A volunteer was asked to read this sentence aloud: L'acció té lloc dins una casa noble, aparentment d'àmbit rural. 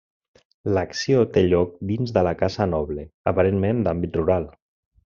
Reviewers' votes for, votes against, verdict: 1, 2, rejected